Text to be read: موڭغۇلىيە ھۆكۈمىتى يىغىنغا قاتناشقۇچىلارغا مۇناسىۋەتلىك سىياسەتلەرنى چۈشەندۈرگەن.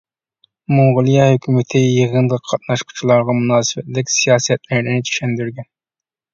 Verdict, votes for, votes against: accepted, 2, 0